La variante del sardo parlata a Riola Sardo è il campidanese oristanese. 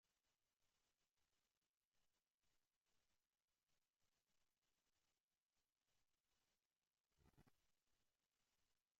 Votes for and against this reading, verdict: 0, 2, rejected